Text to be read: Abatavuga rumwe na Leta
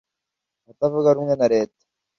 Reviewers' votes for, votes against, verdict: 2, 0, accepted